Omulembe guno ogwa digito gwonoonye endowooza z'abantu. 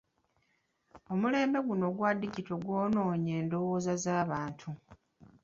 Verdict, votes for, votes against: accepted, 2, 0